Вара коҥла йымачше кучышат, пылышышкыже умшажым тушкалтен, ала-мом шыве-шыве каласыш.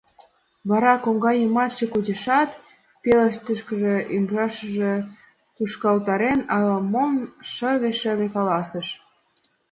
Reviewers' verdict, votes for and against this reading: rejected, 0, 2